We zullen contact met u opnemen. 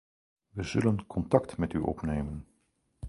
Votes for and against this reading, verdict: 4, 0, accepted